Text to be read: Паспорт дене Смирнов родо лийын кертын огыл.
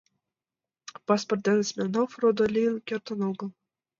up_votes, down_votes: 2, 0